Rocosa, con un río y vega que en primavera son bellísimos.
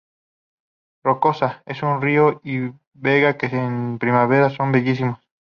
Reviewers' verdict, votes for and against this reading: rejected, 0, 2